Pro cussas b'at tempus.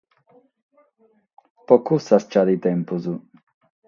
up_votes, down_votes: 3, 3